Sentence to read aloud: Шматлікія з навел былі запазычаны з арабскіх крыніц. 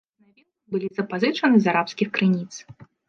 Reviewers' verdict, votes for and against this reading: rejected, 0, 2